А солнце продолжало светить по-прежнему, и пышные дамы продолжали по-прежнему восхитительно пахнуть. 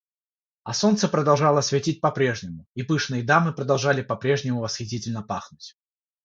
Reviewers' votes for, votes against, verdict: 3, 0, accepted